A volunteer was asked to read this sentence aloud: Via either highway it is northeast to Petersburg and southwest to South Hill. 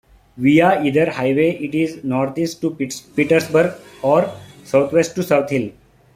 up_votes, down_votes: 1, 3